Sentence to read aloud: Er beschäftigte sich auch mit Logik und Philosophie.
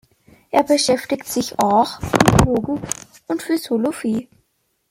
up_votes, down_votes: 1, 2